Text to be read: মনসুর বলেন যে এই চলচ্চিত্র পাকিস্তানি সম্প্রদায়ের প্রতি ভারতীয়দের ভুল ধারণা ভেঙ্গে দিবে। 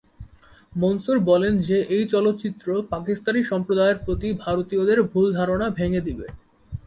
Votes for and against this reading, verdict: 6, 0, accepted